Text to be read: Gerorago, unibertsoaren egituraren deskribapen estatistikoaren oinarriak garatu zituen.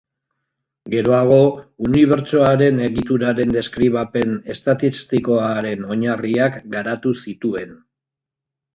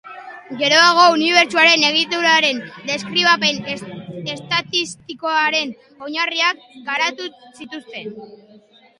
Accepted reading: first